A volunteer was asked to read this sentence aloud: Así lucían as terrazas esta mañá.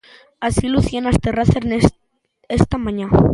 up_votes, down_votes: 0, 2